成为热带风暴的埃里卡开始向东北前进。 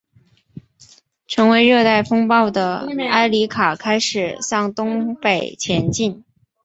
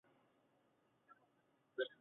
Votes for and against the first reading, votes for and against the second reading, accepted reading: 3, 0, 1, 3, first